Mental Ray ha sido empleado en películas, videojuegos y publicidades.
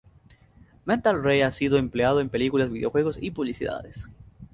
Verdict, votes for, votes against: rejected, 0, 2